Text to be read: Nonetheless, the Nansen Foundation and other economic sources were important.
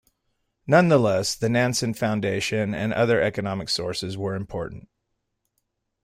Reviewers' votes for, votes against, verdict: 2, 1, accepted